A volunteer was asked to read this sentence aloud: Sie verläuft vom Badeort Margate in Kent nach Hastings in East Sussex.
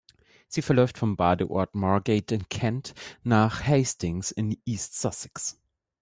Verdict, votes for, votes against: accepted, 2, 1